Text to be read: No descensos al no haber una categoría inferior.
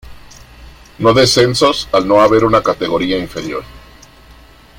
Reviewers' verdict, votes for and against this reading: rejected, 0, 2